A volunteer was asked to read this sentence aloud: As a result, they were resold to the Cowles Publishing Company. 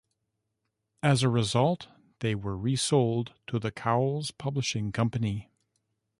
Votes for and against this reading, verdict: 1, 2, rejected